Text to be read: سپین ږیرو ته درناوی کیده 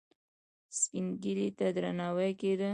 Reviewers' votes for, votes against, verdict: 1, 2, rejected